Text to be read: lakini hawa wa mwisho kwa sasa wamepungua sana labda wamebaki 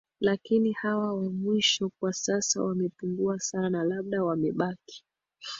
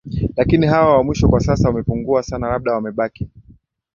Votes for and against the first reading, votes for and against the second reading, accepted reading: 1, 2, 2, 0, second